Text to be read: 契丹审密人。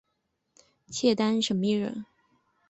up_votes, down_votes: 2, 0